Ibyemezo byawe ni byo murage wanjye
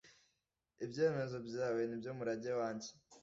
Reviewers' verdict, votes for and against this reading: accepted, 2, 0